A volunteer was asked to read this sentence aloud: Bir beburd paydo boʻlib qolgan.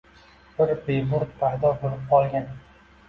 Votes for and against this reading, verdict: 1, 2, rejected